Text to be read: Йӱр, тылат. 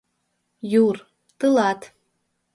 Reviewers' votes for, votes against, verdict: 2, 1, accepted